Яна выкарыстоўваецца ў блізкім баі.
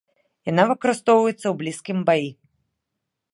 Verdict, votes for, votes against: accepted, 2, 0